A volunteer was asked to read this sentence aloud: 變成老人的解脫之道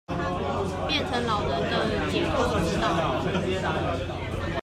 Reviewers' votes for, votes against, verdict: 1, 2, rejected